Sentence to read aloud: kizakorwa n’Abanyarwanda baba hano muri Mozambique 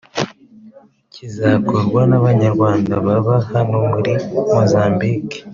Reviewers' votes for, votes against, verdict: 2, 0, accepted